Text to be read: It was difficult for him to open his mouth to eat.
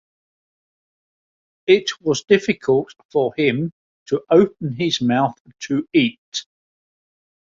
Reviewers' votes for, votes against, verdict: 4, 0, accepted